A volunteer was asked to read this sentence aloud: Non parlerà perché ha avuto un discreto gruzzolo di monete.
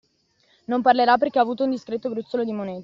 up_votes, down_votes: 2, 1